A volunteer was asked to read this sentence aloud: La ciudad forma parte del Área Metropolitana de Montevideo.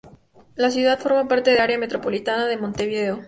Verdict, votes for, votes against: rejected, 2, 4